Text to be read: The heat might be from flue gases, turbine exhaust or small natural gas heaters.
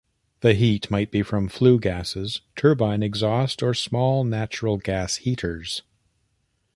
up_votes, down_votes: 2, 1